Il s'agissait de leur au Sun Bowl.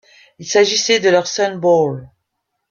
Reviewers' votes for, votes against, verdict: 0, 2, rejected